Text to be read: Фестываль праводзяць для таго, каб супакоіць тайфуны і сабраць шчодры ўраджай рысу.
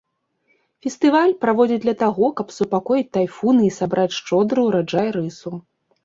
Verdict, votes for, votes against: accepted, 2, 0